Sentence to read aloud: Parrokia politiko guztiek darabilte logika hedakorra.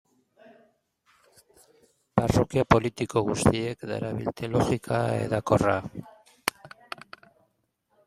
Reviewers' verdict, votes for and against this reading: rejected, 0, 2